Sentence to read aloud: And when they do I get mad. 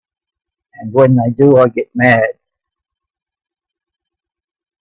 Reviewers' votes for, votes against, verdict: 1, 2, rejected